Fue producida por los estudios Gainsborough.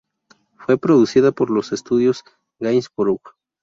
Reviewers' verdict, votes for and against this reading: rejected, 2, 2